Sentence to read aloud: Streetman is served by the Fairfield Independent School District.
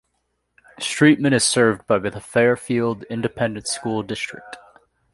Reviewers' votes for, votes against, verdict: 2, 0, accepted